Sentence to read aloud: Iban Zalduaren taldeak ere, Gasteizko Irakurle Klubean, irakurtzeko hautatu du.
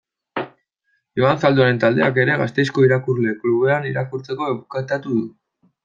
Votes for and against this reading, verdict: 1, 2, rejected